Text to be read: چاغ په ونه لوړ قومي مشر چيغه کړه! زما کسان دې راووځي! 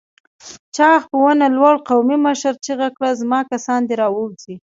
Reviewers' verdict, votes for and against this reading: accepted, 2, 0